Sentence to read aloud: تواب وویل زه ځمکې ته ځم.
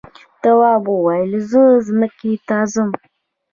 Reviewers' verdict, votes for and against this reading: rejected, 0, 2